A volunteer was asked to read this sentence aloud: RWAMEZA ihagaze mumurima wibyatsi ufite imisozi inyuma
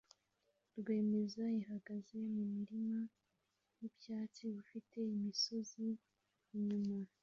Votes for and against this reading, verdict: 2, 1, accepted